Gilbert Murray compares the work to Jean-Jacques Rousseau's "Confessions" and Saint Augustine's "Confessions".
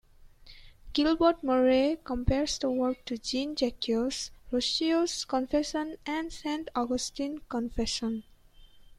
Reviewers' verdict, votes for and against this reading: rejected, 0, 2